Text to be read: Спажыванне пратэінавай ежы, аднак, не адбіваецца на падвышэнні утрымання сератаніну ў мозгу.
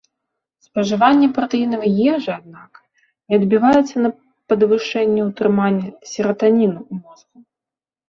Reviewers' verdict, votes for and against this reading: rejected, 1, 2